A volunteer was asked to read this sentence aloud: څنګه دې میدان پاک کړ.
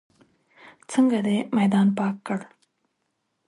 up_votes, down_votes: 2, 0